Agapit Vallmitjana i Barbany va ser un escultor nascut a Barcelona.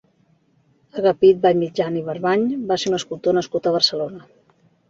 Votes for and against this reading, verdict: 2, 0, accepted